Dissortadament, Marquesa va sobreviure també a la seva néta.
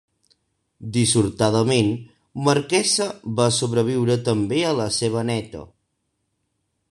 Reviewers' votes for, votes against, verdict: 3, 0, accepted